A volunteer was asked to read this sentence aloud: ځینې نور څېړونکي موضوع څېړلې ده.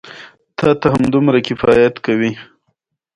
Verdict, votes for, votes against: rejected, 0, 2